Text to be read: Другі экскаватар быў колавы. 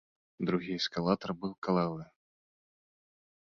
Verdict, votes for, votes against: rejected, 1, 2